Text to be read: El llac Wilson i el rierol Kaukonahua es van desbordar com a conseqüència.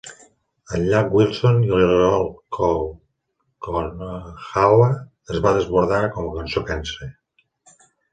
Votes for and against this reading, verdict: 0, 2, rejected